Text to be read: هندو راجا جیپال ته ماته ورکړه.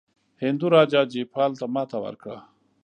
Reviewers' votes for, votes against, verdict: 2, 0, accepted